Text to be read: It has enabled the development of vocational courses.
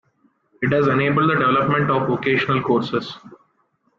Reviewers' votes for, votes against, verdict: 0, 2, rejected